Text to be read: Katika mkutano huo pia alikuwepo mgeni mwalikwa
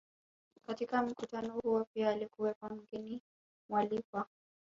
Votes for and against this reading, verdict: 2, 0, accepted